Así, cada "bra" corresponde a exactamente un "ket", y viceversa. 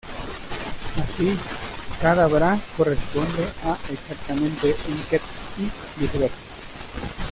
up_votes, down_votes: 0, 2